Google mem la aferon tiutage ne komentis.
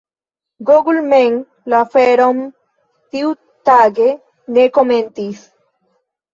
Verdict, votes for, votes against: accepted, 2, 1